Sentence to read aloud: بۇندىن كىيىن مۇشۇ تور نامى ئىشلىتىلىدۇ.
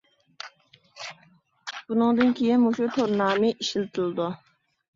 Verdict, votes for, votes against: rejected, 0, 2